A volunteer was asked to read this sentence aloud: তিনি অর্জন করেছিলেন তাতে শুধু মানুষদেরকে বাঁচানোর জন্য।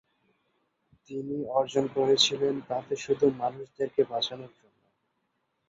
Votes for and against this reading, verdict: 0, 2, rejected